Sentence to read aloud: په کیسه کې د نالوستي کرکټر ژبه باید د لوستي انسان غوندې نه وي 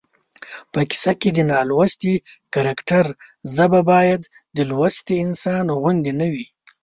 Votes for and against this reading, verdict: 2, 3, rejected